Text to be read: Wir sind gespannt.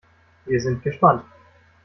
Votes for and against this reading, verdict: 2, 0, accepted